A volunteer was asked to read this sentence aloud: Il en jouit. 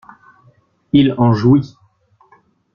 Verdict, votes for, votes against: accepted, 2, 0